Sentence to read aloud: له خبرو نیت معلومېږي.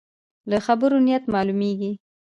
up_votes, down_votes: 2, 0